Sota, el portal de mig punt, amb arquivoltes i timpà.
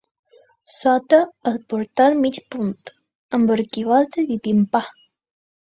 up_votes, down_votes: 0, 2